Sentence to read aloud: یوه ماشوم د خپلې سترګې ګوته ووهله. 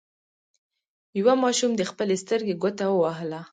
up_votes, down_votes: 2, 0